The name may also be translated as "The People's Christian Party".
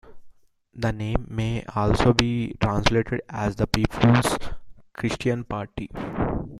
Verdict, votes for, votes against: accepted, 2, 0